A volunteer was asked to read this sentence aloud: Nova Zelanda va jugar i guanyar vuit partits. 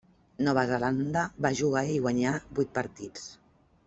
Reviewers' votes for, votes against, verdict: 1, 2, rejected